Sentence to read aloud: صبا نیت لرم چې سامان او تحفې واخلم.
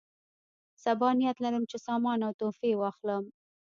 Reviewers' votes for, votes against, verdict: 2, 1, accepted